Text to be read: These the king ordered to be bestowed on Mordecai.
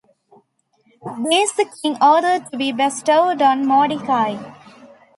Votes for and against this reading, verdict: 1, 2, rejected